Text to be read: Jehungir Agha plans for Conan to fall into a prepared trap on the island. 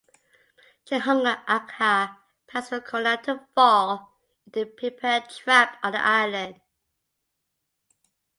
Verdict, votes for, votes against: rejected, 1, 2